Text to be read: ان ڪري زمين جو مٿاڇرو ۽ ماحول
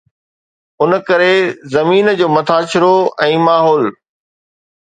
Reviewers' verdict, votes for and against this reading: accepted, 2, 0